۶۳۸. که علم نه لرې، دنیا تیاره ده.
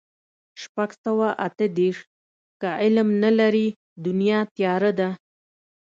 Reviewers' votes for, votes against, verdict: 0, 2, rejected